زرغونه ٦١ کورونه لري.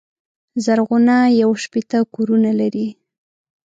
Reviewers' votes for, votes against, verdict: 0, 2, rejected